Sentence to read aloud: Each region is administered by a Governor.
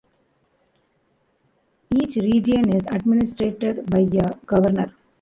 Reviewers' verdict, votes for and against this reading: accepted, 2, 0